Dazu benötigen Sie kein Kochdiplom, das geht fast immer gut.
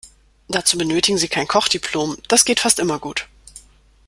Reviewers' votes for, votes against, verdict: 2, 0, accepted